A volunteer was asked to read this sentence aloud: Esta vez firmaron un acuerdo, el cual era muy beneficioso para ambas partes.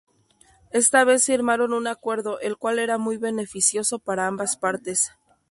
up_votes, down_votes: 2, 0